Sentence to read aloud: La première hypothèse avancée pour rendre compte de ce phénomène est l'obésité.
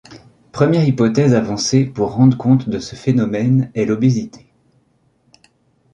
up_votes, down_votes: 1, 2